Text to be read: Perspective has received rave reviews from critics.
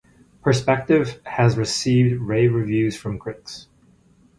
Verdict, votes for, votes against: rejected, 2, 2